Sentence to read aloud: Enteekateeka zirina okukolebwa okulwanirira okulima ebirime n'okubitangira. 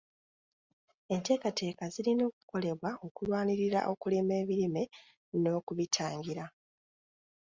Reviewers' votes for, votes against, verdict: 2, 0, accepted